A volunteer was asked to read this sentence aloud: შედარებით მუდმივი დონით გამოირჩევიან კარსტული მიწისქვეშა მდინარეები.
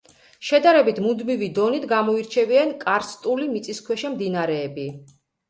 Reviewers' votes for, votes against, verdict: 2, 0, accepted